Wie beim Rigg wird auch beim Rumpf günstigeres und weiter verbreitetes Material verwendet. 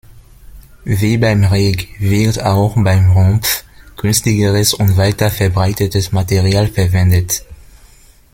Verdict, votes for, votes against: rejected, 1, 2